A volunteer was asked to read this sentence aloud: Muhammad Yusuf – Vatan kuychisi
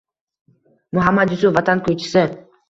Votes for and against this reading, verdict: 2, 0, accepted